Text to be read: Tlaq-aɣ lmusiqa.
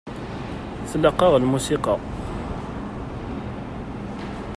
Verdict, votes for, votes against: accepted, 2, 0